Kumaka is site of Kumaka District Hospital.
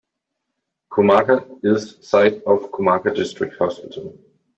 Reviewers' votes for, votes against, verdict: 2, 0, accepted